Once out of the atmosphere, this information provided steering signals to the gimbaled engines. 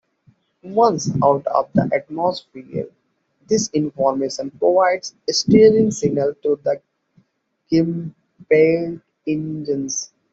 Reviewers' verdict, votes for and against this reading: rejected, 1, 2